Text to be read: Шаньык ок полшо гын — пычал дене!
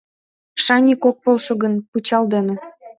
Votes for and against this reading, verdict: 2, 0, accepted